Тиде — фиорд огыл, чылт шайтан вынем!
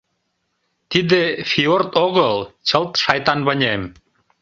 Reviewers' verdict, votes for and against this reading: accepted, 2, 0